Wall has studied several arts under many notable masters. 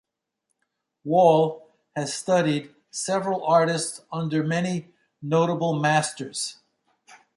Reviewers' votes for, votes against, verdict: 1, 2, rejected